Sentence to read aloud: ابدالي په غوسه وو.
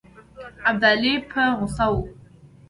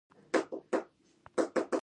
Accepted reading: first